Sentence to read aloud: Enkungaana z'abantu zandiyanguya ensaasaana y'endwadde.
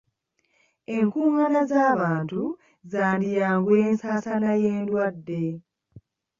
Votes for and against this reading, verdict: 1, 2, rejected